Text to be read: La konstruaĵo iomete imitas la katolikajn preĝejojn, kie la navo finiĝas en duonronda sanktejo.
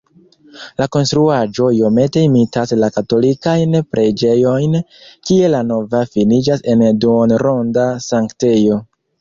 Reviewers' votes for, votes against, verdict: 1, 2, rejected